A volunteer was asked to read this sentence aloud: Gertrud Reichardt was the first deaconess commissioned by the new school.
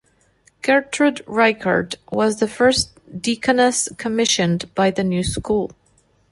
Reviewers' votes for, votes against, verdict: 2, 0, accepted